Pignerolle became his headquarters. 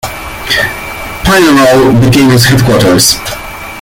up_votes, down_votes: 1, 2